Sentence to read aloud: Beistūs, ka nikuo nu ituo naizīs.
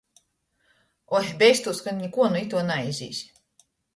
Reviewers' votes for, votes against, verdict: 0, 2, rejected